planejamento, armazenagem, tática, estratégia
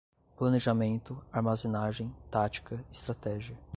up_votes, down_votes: 2, 0